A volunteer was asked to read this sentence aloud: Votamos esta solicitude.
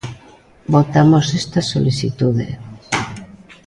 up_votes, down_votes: 2, 0